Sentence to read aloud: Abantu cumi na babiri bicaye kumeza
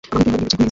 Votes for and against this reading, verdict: 0, 2, rejected